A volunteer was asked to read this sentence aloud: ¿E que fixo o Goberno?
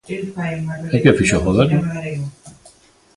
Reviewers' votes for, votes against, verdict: 0, 2, rejected